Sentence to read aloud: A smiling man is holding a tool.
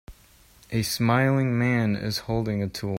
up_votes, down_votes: 1, 2